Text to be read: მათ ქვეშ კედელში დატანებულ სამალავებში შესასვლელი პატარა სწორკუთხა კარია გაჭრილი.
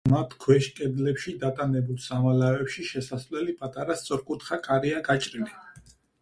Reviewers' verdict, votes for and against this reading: rejected, 0, 4